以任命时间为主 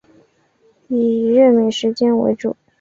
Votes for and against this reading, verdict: 3, 1, accepted